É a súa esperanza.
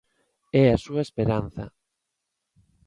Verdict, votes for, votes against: accepted, 2, 0